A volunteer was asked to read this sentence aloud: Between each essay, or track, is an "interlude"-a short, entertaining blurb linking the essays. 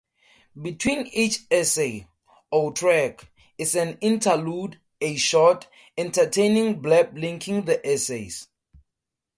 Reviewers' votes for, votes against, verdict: 4, 0, accepted